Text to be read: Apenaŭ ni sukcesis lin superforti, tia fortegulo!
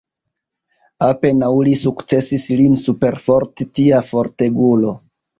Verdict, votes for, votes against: rejected, 0, 2